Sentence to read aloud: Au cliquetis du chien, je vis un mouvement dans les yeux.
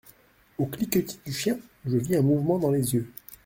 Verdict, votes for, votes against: accepted, 2, 0